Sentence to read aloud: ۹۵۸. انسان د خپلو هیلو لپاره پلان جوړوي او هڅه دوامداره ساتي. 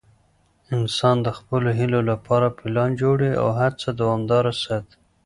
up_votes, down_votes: 0, 2